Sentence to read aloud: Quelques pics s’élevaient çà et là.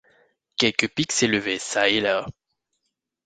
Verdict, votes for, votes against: accepted, 2, 0